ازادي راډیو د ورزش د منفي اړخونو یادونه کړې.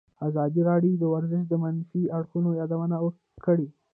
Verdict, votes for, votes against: accepted, 2, 1